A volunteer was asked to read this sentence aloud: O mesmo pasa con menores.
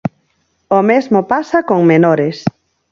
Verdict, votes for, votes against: accepted, 4, 0